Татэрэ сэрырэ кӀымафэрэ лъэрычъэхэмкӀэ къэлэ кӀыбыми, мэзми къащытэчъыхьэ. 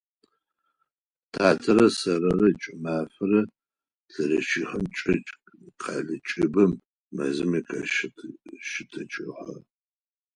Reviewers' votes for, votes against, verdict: 2, 4, rejected